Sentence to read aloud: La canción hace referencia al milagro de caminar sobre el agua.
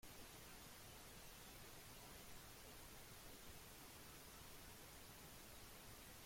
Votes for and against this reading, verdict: 0, 2, rejected